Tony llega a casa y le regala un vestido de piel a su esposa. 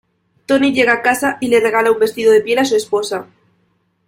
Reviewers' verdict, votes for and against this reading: accepted, 2, 0